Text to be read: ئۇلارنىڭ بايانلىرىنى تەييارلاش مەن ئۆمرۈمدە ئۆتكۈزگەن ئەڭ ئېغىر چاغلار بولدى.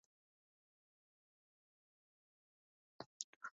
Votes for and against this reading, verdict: 0, 2, rejected